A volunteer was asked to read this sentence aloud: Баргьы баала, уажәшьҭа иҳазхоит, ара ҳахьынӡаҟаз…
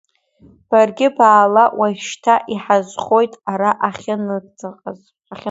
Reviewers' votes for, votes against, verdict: 0, 2, rejected